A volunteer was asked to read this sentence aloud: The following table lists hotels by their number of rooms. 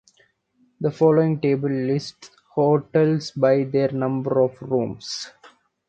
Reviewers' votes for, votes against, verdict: 1, 2, rejected